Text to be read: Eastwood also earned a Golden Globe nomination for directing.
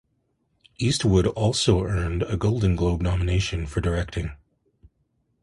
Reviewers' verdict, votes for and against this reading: accepted, 2, 0